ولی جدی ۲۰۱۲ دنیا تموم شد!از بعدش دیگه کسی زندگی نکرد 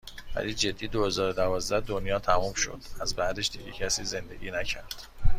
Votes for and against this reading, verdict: 0, 2, rejected